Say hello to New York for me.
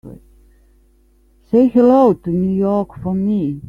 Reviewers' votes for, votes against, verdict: 3, 0, accepted